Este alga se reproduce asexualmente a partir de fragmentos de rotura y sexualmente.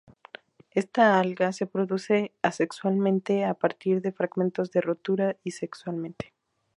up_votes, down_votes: 2, 2